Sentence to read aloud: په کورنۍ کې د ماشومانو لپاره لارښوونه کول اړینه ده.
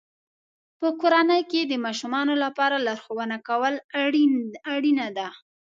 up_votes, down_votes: 2, 0